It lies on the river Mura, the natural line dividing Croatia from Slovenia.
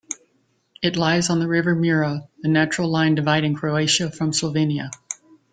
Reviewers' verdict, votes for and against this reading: accepted, 2, 0